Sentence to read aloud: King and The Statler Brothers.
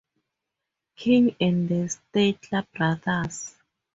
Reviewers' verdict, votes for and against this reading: rejected, 0, 2